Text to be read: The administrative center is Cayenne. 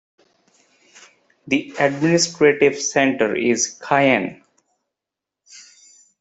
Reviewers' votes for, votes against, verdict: 1, 2, rejected